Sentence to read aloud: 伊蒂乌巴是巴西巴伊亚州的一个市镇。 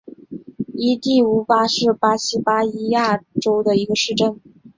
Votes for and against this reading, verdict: 3, 0, accepted